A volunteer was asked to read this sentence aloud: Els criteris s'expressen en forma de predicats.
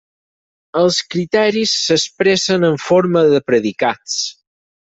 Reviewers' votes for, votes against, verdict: 6, 2, accepted